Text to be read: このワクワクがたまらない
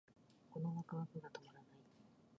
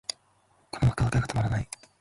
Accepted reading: second